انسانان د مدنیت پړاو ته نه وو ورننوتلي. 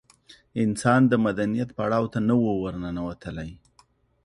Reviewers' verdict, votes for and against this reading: rejected, 1, 2